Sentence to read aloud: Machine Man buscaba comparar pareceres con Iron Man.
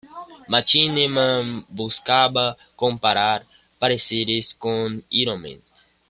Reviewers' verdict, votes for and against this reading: rejected, 1, 2